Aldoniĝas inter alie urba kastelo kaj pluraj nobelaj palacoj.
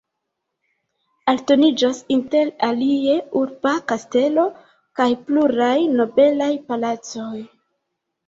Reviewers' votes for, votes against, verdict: 1, 2, rejected